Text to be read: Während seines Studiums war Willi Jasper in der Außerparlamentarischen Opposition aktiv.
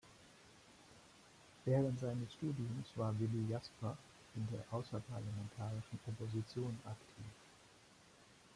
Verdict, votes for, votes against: accepted, 2, 0